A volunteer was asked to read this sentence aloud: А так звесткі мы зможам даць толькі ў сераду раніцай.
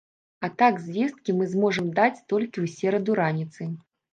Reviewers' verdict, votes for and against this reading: rejected, 1, 2